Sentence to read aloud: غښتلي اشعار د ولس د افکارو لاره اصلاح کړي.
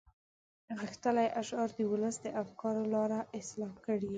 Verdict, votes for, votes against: accepted, 2, 0